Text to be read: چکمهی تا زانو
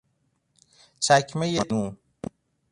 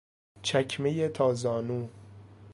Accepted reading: second